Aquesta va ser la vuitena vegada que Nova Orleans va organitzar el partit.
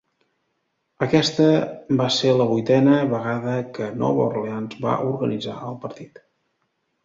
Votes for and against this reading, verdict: 3, 0, accepted